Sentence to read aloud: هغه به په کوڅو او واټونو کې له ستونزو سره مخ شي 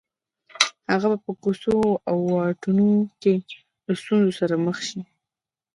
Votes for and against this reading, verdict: 0, 2, rejected